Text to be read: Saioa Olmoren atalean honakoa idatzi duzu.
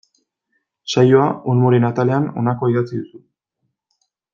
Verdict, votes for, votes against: accepted, 2, 0